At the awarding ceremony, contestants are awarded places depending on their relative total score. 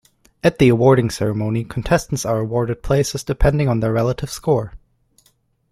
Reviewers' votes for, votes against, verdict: 3, 0, accepted